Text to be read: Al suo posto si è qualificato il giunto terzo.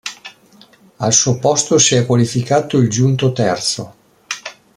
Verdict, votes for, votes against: accepted, 2, 0